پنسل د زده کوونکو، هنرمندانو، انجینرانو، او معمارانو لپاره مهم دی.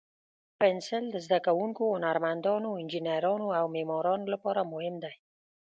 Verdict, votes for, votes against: accepted, 2, 0